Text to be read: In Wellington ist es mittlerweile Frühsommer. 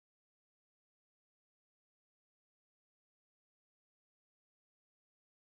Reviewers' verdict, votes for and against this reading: rejected, 0, 2